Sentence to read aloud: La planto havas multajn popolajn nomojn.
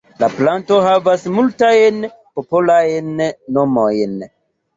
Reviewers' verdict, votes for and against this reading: rejected, 0, 2